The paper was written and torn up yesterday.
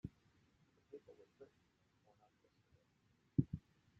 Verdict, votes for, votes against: rejected, 0, 2